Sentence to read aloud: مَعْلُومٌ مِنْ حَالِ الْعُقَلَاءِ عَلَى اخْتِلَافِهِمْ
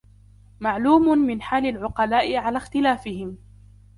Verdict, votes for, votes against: accepted, 2, 0